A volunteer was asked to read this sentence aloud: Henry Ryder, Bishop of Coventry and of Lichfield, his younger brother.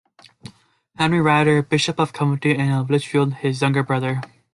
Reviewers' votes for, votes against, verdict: 2, 1, accepted